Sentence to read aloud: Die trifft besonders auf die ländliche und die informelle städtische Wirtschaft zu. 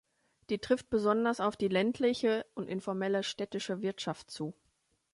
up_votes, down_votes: 1, 2